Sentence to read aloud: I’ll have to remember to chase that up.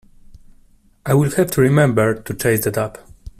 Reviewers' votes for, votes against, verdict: 0, 2, rejected